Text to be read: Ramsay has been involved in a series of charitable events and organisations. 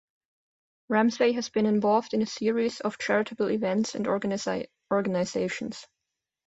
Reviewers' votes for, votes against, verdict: 2, 3, rejected